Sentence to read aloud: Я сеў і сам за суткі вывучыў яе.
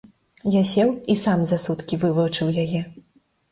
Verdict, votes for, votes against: accepted, 2, 0